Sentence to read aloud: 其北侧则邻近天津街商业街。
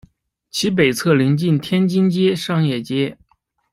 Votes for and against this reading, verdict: 1, 2, rejected